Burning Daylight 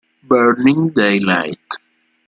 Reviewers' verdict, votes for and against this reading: accepted, 2, 0